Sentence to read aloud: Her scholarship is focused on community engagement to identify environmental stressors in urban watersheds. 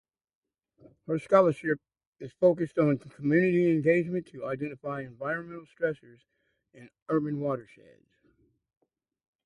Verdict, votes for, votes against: rejected, 0, 2